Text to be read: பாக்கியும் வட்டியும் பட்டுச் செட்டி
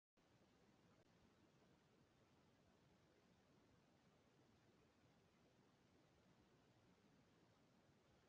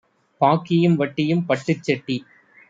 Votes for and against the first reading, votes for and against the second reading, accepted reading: 0, 2, 2, 0, second